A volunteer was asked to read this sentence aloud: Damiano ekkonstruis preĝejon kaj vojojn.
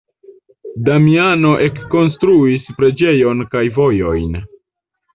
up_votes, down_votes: 1, 2